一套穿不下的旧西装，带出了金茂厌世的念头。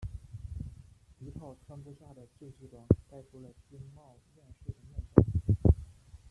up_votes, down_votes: 0, 2